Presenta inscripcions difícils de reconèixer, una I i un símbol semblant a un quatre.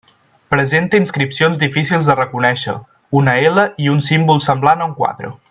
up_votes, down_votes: 1, 2